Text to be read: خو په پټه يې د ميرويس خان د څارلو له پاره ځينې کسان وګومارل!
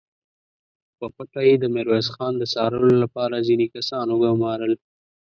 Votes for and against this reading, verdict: 2, 0, accepted